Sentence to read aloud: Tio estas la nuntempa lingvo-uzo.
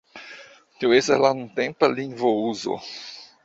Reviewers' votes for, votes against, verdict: 2, 1, accepted